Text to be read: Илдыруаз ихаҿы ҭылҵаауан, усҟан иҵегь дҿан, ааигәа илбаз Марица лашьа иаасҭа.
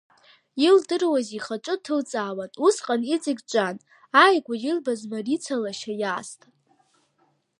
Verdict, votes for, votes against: rejected, 0, 2